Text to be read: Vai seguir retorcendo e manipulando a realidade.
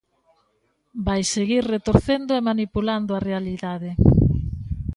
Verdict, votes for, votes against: accepted, 2, 0